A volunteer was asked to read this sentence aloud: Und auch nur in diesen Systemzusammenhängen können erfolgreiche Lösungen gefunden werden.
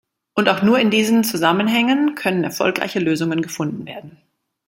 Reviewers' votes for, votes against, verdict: 1, 2, rejected